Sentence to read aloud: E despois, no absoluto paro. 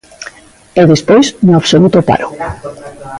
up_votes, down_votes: 2, 1